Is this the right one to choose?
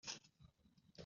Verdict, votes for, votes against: rejected, 0, 2